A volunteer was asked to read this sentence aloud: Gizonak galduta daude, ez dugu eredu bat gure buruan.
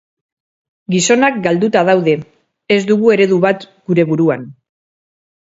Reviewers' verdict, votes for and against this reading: accepted, 4, 2